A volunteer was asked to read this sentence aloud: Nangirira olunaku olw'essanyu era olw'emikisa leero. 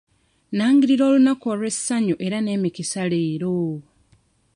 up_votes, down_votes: 0, 2